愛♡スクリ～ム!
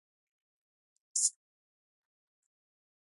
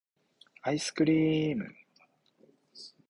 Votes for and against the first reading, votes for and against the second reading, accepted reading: 0, 2, 2, 0, second